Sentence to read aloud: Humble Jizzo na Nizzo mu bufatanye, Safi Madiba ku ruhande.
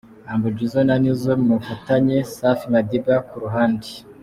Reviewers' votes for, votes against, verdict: 2, 0, accepted